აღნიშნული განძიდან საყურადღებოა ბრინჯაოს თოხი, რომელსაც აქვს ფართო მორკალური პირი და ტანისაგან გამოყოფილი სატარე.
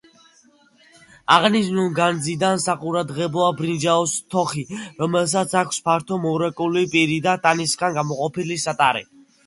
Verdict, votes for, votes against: rejected, 0, 2